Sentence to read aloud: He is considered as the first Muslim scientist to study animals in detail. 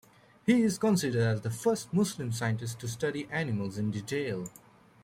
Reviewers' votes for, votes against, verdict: 2, 1, accepted